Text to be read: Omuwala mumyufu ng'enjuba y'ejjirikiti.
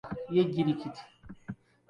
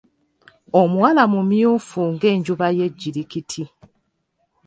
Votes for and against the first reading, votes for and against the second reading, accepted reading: 0, 2, 2, 0, second